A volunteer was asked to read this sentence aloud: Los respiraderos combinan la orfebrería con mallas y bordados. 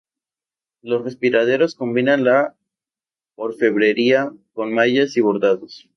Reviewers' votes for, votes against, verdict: 0, 2, rejected